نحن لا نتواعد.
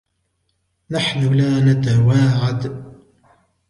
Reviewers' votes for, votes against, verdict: 2, 0, accepted